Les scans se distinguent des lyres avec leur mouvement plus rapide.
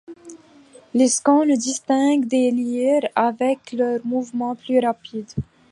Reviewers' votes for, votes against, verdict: 2, 0, accepted